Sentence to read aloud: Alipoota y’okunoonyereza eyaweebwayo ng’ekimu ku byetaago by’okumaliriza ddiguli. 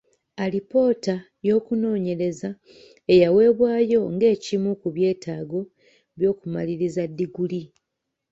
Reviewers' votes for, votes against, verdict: 2, 0, accepted